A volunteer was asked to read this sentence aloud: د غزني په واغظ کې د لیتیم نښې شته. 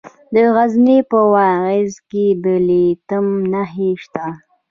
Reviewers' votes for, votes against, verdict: 0, 2, rejected